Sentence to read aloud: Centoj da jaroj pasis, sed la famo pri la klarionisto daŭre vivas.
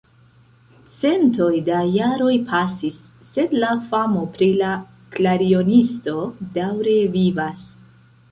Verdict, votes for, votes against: rejected, 1, 2